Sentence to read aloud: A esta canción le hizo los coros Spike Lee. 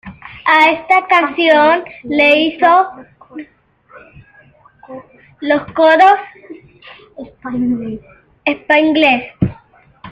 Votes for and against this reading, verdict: 2, 1, accepted